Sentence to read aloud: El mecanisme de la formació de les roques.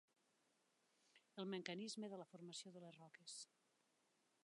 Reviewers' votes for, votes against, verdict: 3, 2, accepted